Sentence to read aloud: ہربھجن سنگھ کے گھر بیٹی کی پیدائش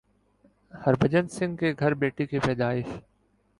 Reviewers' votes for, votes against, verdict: 3, 0, accepted